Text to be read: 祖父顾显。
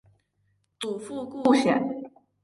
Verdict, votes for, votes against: accepted, 2, 0